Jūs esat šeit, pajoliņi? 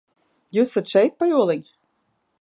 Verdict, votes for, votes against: rejected, 1, 2